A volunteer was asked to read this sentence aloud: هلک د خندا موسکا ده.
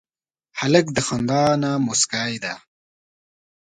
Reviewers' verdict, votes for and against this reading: rejected, 2, 3